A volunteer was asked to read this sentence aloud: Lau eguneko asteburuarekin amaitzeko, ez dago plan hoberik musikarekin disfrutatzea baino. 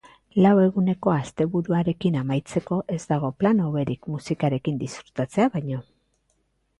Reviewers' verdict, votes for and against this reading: accepted, 2, 0